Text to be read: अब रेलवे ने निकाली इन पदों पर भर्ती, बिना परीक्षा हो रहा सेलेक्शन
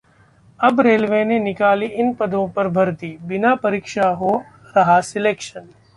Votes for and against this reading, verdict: 2, 0, accepted